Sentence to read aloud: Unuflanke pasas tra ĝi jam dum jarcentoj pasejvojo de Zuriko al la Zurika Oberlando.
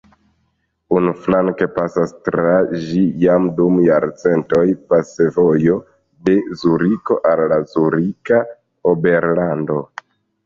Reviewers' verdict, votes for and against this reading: rejected, 0, 2